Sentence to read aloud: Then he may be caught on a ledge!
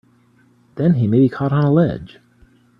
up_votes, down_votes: 2, 1